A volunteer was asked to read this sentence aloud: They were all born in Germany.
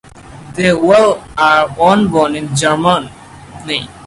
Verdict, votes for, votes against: rejected, 0, 2